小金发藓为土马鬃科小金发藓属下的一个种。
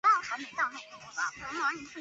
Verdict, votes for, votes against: rejected, 0, 2